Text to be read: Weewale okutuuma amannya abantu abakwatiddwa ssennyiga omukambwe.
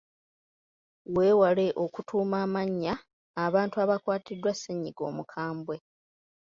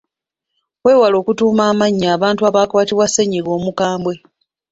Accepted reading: first